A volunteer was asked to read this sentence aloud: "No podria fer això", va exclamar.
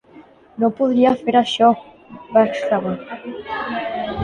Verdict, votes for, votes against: accepted, 2, 0